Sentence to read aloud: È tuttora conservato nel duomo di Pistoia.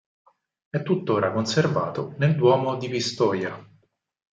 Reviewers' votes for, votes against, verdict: 4, 0, accepted